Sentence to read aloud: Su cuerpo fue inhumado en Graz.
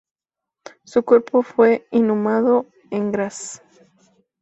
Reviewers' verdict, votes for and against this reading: rejected, 2, 2